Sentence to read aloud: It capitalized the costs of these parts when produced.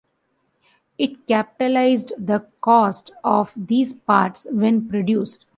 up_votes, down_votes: 2, 1